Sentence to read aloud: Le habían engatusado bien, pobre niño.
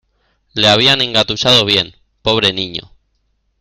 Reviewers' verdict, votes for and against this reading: accepted, 2, 0